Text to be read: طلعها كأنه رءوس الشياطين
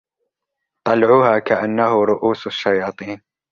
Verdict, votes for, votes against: accepted, 2, 0